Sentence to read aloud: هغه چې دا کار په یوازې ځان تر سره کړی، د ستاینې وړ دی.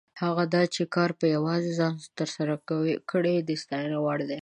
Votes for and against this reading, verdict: 0, 2, rejected